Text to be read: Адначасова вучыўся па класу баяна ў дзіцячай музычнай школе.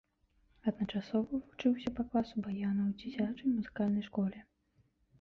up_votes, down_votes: 1, 2